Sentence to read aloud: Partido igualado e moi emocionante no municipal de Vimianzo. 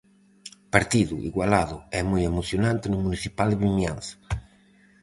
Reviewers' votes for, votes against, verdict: 4, 0, accepted